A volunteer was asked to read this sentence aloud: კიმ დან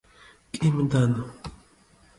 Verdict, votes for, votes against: rejected, 0, 2